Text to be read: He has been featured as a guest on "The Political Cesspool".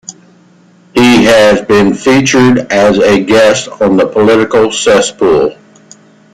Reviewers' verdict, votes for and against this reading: accepted, 2, 0